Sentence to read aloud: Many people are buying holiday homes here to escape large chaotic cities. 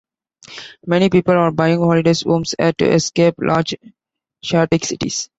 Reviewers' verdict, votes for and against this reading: rejected, 0, 2